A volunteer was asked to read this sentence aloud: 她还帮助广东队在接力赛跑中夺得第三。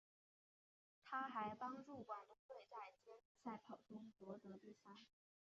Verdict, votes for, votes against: accepted, 5, 1